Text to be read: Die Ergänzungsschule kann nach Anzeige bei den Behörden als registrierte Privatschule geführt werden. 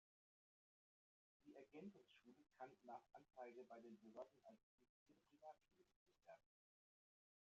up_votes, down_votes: 0, 2